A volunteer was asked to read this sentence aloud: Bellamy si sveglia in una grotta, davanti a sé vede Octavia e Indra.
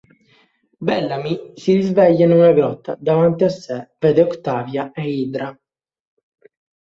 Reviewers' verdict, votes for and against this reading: accepted, 2, 0